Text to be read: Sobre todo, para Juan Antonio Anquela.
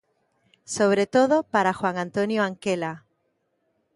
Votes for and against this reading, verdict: 2, 0, accepted